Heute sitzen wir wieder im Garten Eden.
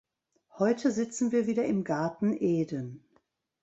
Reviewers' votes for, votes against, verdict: 2, 0, accepted